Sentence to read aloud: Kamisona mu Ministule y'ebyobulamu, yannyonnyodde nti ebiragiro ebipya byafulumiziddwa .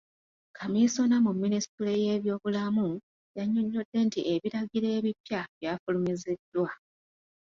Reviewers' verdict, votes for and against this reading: rejected, 0, 2